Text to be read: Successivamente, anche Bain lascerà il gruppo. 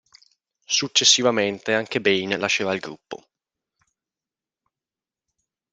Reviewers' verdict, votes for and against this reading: accepted, 2, 0